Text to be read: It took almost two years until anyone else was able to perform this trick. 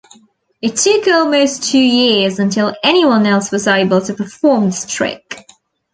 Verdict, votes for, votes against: rejected, 1, 2